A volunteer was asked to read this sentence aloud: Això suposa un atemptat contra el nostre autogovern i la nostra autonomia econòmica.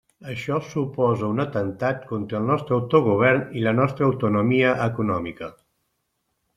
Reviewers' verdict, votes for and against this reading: accepted, 2, 0